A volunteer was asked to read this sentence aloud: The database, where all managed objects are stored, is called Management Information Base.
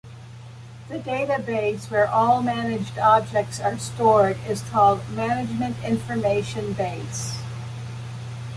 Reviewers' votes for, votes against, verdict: 2, 0, accepted